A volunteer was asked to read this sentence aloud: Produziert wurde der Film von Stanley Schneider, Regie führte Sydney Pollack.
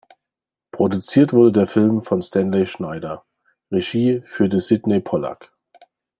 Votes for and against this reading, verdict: 2, 0, accepted